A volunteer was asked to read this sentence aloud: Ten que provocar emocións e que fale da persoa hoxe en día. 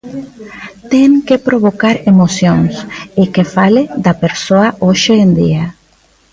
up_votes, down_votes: 2, 0